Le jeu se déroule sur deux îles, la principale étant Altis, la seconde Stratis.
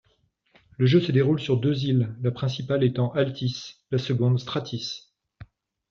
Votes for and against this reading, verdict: 2, 0, accepted